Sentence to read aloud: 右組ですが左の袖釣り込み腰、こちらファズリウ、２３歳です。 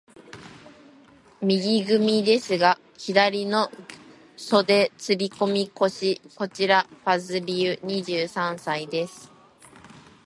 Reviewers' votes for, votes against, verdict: 0, 2, rejected